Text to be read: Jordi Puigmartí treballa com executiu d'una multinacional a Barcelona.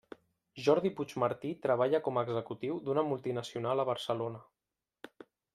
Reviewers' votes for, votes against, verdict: 2, 0, accepted